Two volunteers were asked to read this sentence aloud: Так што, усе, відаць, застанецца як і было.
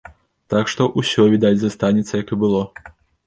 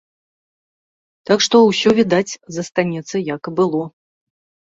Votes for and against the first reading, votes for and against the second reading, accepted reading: 1, 2, 2, 0, second